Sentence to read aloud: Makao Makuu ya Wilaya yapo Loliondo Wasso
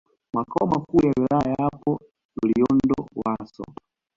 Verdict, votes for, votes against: accepted, 2, 1